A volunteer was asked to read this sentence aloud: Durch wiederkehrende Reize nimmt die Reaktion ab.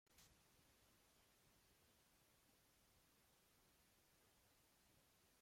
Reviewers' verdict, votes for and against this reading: rejected, 0, 2